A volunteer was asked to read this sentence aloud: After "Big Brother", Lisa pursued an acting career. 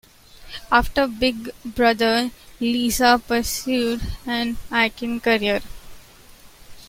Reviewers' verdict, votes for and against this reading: accepted, 2, 1